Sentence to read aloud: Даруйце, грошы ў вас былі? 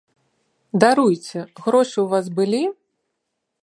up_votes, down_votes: 2, 0